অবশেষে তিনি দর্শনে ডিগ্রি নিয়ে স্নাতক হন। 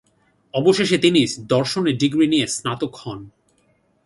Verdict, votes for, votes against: accepted, 2, 0